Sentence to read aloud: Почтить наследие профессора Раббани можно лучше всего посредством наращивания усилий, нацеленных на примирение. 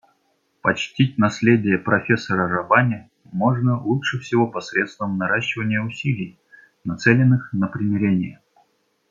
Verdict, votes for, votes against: accepted, 2, 0